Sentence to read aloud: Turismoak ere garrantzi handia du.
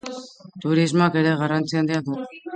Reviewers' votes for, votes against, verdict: 2, 0, accepted